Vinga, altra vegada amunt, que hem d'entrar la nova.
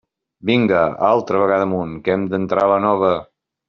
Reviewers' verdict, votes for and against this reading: accepted, 5, 0